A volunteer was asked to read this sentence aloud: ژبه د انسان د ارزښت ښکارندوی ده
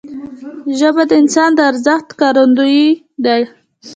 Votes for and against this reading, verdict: 2, 0, accepted